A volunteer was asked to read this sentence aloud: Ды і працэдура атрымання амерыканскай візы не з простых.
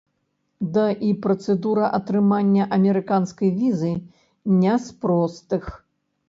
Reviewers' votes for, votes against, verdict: 1, 2, rejected